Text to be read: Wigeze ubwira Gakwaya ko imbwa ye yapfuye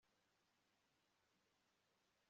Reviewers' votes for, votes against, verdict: 0, 2, rejected